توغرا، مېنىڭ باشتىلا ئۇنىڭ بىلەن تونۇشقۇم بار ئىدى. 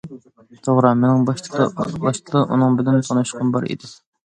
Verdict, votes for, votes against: rejected, 0, 2